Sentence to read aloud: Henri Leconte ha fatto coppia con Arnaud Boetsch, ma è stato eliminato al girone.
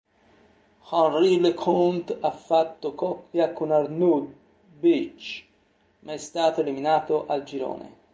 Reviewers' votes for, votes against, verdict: 2, 1, accepted